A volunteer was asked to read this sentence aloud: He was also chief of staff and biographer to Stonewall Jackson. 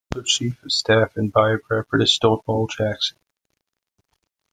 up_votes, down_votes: 0, 2